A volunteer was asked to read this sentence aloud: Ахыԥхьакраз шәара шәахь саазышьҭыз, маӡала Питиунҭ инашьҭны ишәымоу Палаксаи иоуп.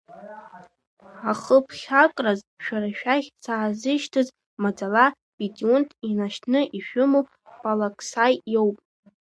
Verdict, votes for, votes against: rejected, 1, 2